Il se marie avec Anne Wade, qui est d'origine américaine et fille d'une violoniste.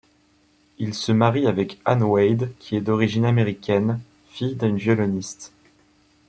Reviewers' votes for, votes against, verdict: 1, 2, rejected